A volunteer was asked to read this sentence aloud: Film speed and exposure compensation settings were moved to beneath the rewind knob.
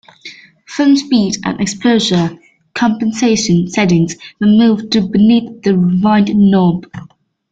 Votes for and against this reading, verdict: 2, 0, accepted